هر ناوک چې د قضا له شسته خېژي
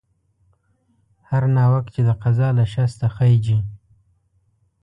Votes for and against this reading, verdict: 2, 0, accepted